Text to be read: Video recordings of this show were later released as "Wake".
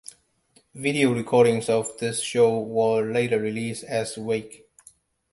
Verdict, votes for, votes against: accepted, 2, 0